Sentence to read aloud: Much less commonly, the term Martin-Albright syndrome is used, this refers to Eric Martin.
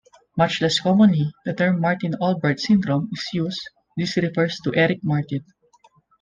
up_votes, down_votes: 1, 2